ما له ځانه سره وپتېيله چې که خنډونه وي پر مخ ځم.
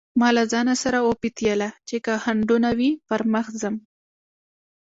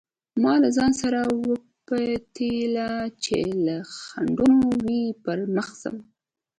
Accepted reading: first